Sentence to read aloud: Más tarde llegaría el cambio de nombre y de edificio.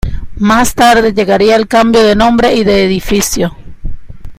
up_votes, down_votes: 2, 0